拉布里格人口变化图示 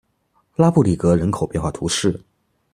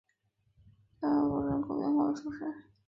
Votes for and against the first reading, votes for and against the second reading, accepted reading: 2, 0, 2, 3, first